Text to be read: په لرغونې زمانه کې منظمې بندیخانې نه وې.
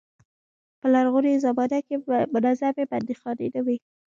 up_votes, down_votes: 1, 2